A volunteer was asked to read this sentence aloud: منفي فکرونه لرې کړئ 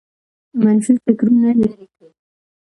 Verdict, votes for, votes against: accepted, 2, 1